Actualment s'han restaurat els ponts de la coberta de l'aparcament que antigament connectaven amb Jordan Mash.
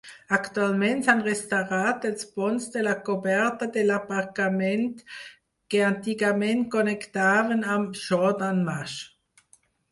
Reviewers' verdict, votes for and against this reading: accepted, 4, 0